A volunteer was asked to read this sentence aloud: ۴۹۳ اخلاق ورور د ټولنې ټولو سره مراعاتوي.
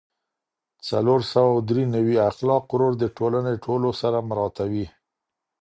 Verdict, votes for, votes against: rejected, 0, 2